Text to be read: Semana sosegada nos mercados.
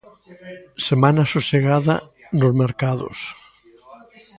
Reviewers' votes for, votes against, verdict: 1, 2, rejected